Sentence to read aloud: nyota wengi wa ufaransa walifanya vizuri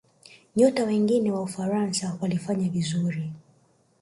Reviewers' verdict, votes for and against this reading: rejected, 0, 2